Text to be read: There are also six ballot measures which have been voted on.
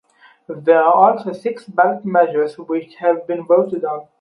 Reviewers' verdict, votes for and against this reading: rejected, 2, 4